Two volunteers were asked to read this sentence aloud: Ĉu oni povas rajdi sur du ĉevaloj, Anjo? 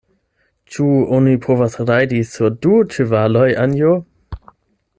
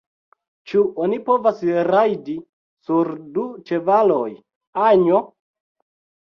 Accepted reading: first